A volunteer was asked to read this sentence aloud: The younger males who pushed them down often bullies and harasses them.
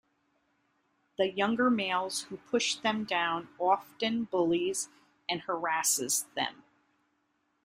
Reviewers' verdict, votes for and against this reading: accepted, 2, 1